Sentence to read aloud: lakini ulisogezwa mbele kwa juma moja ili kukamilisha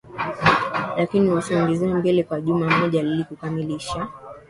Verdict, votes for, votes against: accepted, 2, 1